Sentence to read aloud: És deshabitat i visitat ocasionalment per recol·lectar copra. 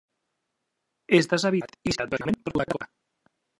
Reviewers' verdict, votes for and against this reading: rejected, 0, 2